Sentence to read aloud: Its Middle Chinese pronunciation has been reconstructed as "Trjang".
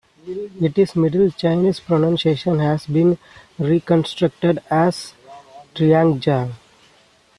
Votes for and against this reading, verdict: 0, 2, rejected